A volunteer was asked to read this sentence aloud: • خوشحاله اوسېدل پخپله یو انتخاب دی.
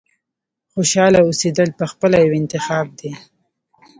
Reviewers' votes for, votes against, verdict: 1, 2, rejected